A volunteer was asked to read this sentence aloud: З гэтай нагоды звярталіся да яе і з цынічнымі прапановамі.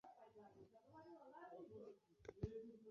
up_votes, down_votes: 0, 2